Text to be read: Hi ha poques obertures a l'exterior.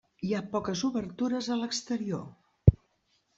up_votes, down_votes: 3, 0